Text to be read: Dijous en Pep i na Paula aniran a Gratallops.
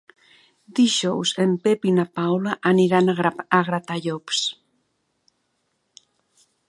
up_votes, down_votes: 1, 2